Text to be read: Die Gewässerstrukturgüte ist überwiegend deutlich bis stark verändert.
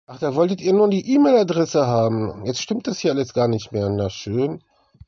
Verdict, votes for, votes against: rejected, 0, 2